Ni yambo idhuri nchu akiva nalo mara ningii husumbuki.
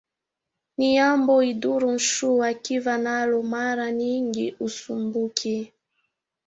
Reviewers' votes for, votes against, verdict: 1, 2, rejected